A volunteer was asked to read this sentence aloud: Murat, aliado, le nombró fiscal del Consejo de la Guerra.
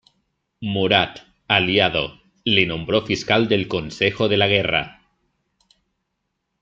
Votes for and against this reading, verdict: 2, 0, accepted